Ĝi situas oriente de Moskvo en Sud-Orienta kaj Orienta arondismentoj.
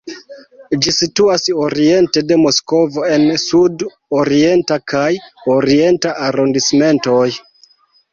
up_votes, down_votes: 1, 2